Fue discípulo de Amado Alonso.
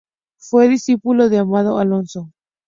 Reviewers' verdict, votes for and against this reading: accepted, 2, 0